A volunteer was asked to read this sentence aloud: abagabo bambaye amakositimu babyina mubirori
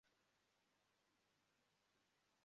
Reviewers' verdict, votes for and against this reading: rejected, 0, 2